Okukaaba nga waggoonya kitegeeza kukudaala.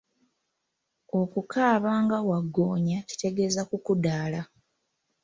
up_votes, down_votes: 2, 0